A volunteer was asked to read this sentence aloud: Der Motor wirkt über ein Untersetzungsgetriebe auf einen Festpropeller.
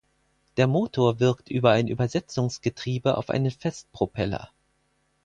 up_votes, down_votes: 2, 4